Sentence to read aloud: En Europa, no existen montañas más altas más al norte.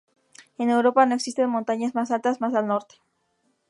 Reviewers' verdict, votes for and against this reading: accepted, 2, 0